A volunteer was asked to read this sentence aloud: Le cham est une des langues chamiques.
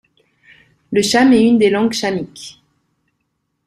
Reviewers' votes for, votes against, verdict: 2, 0, accepted